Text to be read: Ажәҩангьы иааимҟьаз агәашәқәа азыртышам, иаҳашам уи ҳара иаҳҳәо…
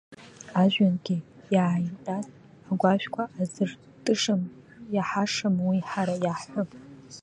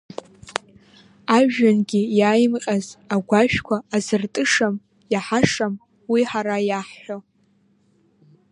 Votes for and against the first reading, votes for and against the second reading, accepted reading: 2, 1, 1, 2, first